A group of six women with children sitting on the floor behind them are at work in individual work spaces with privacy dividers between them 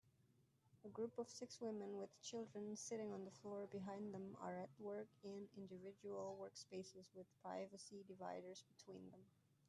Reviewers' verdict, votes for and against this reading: rejected, 2, 3